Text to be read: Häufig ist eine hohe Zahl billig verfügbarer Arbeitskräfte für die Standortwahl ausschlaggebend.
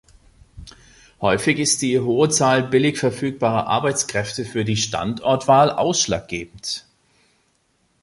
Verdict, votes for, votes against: rejected, 0, 3